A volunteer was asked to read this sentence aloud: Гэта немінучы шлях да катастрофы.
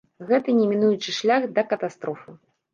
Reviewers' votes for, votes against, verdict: 0, 2, rejected